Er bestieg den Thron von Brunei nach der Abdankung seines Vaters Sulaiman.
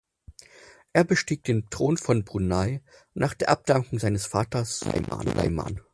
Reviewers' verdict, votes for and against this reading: rejected, 0, 4